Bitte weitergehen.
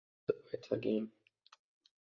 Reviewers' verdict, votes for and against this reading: rejected, 0, 2